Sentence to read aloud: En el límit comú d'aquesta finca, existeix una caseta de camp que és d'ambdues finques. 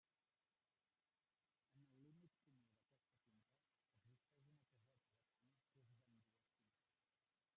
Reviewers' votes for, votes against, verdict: 0, 2, rejected